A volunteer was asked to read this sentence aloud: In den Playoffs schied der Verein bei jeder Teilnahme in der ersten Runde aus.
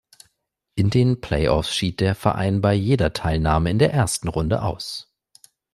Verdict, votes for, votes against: accepted, 2, 0